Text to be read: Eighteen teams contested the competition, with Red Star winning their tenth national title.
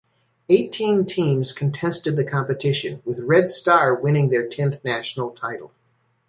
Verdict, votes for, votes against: accepted, 2, 0